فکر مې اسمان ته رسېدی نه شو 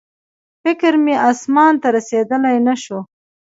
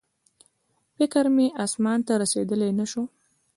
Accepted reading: first